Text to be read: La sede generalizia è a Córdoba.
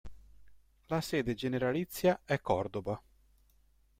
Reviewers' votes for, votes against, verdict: 1, 2, rejected